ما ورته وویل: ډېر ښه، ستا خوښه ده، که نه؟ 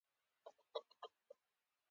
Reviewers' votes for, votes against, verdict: 0, 2, rejected